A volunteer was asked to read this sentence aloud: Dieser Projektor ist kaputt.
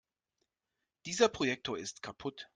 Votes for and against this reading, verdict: 2, 0, accepted